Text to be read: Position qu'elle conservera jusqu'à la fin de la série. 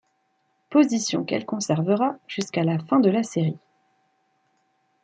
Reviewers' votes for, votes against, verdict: 2, 0, accepted